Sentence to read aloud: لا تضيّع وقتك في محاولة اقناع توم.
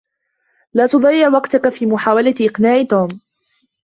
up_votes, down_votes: 3, 1